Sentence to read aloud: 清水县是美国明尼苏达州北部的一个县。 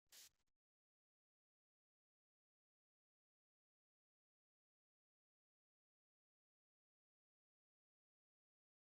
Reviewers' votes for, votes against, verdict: 0, 2, rejected